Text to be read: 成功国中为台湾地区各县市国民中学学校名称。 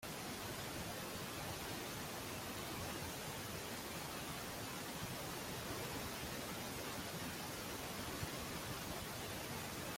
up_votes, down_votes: 0, 2